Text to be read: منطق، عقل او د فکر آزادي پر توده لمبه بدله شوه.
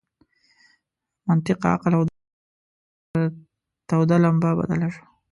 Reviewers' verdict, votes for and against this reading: rejected, 0, 2